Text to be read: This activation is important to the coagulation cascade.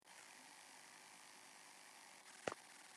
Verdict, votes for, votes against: rejected, 0, 2